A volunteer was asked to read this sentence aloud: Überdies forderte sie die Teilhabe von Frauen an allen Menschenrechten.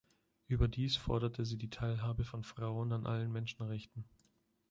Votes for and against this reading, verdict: 2, 0, accepted